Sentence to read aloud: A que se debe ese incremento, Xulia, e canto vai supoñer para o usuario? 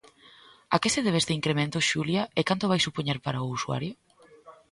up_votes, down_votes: 1, 2